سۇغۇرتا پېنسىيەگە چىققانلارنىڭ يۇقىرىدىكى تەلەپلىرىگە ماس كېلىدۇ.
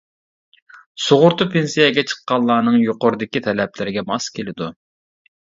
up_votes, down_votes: 2, 1